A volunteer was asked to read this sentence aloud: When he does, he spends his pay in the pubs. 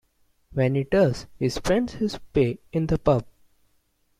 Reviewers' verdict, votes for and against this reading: rejected, 1, 2